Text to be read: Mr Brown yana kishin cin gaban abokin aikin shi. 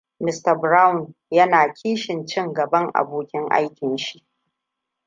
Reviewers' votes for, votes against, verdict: 1, 2, rejected